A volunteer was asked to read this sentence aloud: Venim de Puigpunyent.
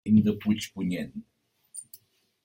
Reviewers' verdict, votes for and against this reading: rejected, 0, 2